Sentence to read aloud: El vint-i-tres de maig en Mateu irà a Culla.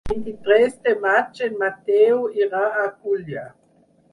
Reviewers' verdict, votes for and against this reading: rejected, 0, 6